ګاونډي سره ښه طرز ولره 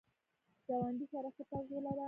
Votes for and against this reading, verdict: 0, 2, rejected